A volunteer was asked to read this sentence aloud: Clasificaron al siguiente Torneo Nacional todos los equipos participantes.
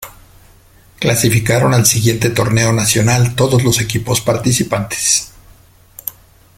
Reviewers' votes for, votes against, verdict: 2, 0, accepted